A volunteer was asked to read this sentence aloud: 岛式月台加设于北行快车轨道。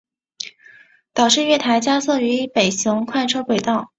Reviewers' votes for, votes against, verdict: 4, 0, accepted